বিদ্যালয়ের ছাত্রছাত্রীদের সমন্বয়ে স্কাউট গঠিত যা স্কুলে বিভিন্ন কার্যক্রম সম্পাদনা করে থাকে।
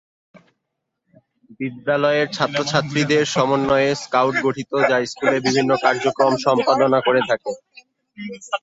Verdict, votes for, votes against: rejected, 0, 2